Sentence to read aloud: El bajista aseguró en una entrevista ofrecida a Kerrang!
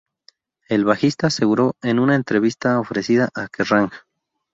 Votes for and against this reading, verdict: 0, 2, rejected